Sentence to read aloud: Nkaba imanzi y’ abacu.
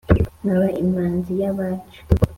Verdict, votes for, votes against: accepted, 2, 0